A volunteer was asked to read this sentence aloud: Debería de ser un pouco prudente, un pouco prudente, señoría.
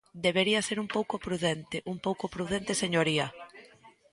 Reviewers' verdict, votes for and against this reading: accepted, 2, 1